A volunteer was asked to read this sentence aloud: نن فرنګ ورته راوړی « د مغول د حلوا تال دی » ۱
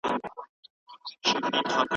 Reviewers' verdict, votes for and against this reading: rejected, 0, 2